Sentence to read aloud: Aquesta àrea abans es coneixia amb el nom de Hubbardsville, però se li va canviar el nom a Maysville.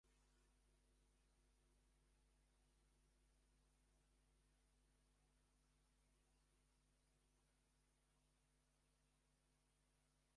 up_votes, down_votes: 0, 2